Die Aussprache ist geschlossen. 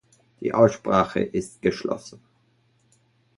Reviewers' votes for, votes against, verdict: 2, 0, accepted